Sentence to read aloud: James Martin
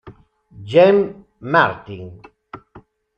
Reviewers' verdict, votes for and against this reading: rejected, 0, 2